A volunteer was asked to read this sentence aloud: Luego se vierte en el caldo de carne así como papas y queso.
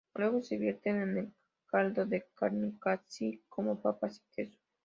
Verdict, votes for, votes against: rejected, 0, 2